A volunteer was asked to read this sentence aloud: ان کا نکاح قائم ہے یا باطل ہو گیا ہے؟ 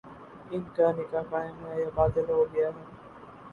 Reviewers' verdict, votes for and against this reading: accepted, 2, 0